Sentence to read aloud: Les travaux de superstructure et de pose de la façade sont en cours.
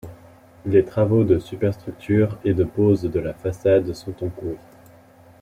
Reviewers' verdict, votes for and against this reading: rejected, 1, 2